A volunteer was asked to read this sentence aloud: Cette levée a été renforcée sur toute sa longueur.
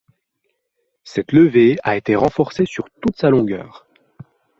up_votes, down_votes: 2, 0